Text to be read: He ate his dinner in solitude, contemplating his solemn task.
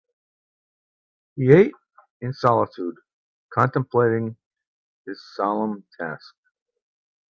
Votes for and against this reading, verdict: 0, 2, rejected